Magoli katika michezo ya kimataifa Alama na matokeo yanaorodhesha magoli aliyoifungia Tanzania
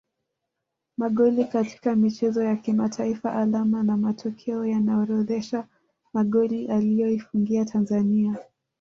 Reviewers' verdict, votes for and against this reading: accepted, 2, 1